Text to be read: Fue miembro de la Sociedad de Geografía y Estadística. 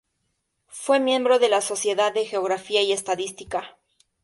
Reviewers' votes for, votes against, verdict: 2, 0, accepted